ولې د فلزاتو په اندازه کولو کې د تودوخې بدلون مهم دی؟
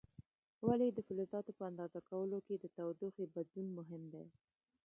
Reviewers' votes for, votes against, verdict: 2, 1, accepted